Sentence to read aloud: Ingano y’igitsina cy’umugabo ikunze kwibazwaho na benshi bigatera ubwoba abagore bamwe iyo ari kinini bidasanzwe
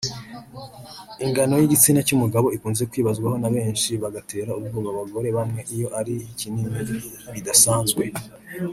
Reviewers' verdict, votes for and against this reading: rejected, 1, 2